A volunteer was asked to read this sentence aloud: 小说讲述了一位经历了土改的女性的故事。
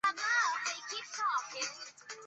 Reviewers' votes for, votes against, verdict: 2, 4, rejected